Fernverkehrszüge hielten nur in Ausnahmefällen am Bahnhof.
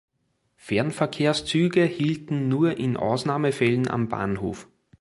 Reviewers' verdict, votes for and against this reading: accepted, 3, 0